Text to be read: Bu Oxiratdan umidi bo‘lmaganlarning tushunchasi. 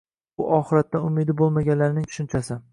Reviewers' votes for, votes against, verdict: 2, 0, accepted